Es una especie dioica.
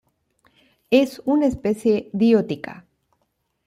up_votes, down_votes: 1, 2